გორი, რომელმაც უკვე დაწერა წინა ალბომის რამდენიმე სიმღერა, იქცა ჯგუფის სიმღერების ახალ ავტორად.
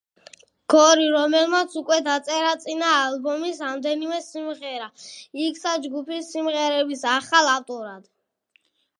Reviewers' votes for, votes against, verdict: 1, 2, rejected